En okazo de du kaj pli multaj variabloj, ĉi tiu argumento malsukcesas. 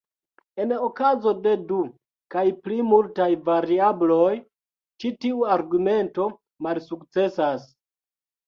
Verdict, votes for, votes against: rejected, 1, 2